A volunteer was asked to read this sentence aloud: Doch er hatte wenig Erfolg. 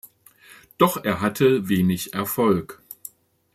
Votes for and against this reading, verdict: 2, 0, accepted